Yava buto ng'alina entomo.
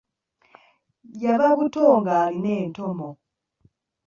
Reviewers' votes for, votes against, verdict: 2, 0, accepted